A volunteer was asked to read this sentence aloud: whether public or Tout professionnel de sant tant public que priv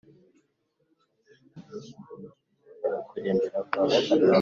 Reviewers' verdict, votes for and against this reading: rejected, 0, 3